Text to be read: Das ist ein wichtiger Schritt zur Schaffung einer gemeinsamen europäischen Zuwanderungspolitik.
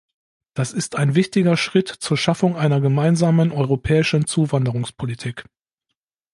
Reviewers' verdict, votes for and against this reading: accepted, 2, 0